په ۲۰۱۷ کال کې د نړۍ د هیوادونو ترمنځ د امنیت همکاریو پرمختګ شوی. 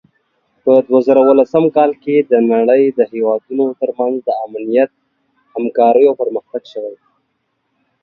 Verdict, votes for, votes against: rejected, 0, 2